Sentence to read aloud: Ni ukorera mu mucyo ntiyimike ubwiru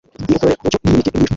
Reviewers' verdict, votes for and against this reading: rejected, 0, 2